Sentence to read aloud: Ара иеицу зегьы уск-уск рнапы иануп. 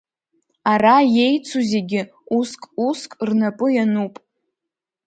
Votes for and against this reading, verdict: 2, 0, accepted